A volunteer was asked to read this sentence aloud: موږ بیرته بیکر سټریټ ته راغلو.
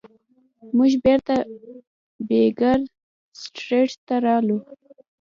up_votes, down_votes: 1, 2